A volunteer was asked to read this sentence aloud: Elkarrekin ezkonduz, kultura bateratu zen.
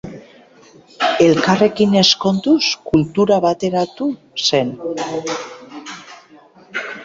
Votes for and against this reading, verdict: 2, 0, accepted